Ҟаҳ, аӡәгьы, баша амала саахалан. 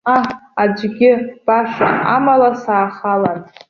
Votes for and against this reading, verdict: 2, 0, accepted